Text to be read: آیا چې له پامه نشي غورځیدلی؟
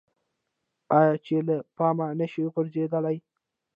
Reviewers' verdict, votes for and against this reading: rejected, 1, 2